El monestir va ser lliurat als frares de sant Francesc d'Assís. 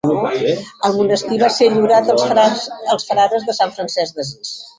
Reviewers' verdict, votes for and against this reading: rejected, 0, 2